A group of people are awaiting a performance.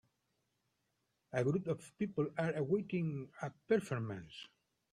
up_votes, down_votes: 0, 2